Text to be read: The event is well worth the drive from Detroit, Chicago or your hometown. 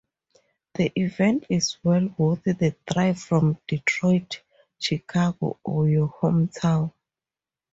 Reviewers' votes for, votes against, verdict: 4, 0, accepted